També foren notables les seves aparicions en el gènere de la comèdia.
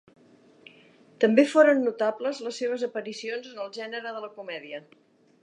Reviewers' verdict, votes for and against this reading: accepted, 2, 0